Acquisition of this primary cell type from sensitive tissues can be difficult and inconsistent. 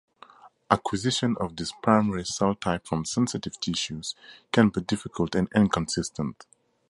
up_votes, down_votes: 0, 2